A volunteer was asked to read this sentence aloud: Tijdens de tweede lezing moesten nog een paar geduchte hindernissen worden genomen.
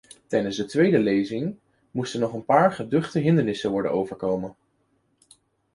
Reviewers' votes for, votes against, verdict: 0, 2, rejected